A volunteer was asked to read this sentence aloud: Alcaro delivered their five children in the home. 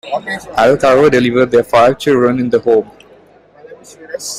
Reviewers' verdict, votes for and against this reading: rejected, 1, 2